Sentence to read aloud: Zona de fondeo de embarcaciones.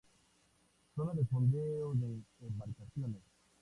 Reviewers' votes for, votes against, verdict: 2, 0, accepted